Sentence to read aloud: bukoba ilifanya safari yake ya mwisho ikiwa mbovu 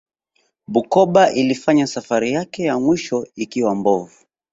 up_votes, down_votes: 3, 0